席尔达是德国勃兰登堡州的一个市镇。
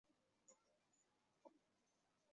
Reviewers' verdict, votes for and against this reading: rejected, 0, 2